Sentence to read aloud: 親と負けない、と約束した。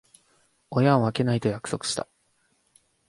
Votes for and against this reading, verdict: 1, 2, rejected